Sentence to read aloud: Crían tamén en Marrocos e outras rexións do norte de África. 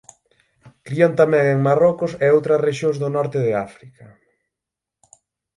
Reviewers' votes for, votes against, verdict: 6, 0, accepted